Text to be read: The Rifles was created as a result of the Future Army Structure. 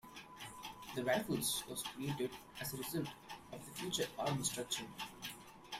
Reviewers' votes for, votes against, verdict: 2, 0, accepted